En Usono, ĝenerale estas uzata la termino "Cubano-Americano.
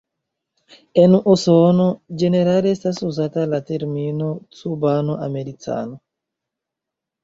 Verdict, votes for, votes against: rejected, 0, 2